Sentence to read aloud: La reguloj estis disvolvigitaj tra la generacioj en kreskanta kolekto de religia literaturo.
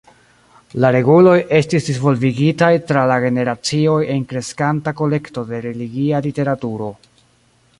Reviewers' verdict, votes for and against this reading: rejected, 1, 2